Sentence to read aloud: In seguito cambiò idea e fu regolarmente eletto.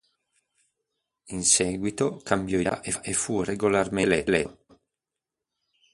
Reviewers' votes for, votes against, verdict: 1, 2, rejected